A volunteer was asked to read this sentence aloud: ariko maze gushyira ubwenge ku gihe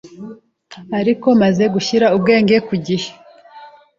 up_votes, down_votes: 2, 0